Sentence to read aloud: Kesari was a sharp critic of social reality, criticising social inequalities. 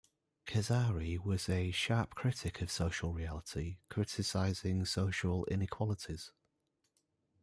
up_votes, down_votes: 2, 0